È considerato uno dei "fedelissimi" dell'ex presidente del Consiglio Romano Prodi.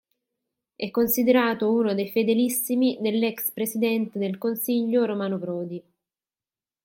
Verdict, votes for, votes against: accepted, 2, 0